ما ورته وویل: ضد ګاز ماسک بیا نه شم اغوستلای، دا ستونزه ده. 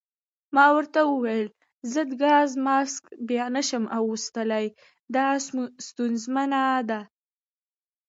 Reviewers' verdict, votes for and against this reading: rejected, 1, 2